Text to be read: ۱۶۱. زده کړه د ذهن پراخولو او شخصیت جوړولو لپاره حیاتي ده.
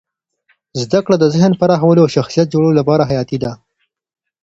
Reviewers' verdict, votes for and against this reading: rejected, 0, 2